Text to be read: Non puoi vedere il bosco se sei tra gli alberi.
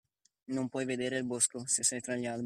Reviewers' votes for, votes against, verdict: 0, 2, rejected